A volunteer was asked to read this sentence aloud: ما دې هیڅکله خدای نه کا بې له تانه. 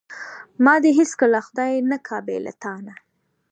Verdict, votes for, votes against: rejected, 1, 2